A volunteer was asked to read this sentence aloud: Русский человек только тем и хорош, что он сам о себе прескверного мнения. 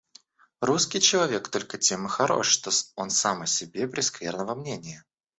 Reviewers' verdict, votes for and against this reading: rejected, 1, 2